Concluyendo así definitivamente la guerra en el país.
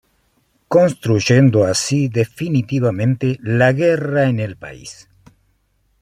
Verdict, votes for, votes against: rejected, 1, 2